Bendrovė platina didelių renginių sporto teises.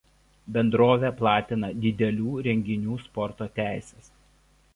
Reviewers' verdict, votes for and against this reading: accepted, 2, 0